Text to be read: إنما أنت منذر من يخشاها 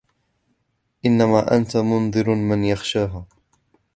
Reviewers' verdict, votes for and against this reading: rejected, 1, 2